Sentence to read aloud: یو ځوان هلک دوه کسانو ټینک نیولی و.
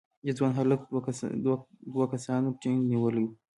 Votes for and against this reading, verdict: 2, 0, accepted